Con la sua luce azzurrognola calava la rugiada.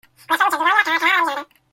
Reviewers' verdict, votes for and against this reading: rejected, 0, 2